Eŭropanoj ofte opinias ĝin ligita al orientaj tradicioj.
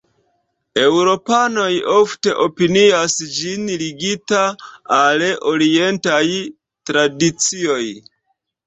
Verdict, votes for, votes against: rejected, 1, 2